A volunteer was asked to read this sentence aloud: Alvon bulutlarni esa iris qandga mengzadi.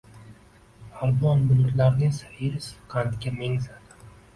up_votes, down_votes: 1, 2